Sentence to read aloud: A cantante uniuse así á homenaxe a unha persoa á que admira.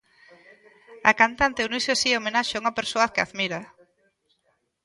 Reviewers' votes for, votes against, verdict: 2, 0, accepted